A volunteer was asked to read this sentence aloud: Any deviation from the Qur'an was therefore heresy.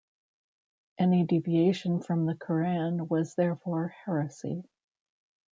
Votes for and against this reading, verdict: 2, 0, accepted